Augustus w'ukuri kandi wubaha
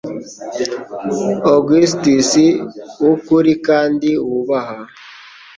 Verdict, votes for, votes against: accepted, 2, 0